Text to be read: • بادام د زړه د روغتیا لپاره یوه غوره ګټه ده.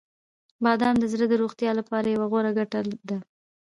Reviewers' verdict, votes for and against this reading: rejected, 1, 2